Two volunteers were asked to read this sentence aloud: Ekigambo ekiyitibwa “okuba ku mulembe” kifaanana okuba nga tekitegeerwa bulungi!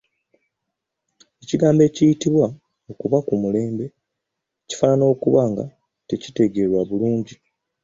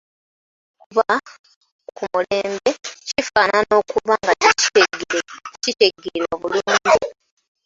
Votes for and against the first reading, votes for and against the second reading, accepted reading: 2, 0, 0, 2, first